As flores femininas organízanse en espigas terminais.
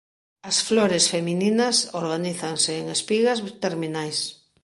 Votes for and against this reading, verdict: 2, 0, accepted